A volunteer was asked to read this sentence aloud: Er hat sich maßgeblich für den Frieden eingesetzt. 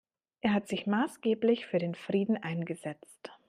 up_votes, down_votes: 2, 0